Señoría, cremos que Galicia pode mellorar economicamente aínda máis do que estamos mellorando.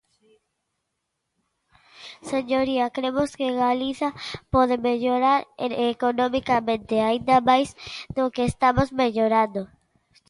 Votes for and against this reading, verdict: 0, 2, rejected